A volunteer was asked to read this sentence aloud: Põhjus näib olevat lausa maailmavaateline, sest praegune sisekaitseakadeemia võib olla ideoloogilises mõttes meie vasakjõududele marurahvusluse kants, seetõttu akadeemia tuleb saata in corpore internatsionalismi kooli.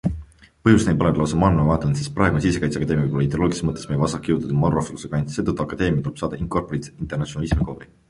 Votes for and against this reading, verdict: 1, 2, rejected